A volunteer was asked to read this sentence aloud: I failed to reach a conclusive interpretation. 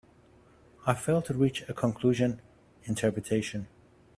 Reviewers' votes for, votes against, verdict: 0, 2, rejected